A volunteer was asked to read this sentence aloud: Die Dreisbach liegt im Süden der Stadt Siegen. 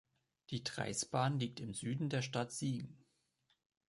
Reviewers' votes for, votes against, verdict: 1, 3, rejected